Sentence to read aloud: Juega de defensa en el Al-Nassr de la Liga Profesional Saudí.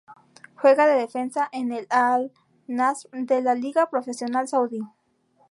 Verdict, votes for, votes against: rejected, 0, 2